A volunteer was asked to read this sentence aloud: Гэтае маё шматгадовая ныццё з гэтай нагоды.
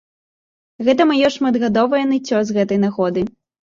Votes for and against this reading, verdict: 2, 0, accepted